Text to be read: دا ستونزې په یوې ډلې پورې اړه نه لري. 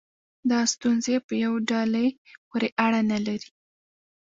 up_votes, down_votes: 0, 2